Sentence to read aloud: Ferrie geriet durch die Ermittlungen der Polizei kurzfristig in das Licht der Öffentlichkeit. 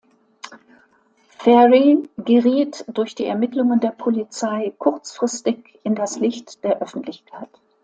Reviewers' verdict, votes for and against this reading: accepted, 2, 0